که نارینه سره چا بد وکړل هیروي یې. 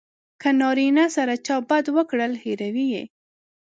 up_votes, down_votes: 2, 0